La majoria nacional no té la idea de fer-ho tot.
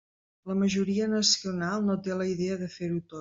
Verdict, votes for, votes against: rejected, 0, 2